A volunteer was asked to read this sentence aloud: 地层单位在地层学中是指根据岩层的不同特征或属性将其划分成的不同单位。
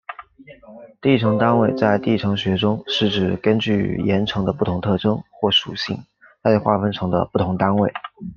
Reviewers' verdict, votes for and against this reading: rejected, 1, 2